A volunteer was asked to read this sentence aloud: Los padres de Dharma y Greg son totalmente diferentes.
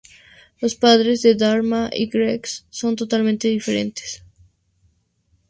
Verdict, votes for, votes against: accepted, 4, 0